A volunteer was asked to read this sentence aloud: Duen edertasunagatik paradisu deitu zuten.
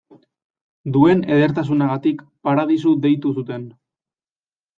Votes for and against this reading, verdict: 2, 0, accepted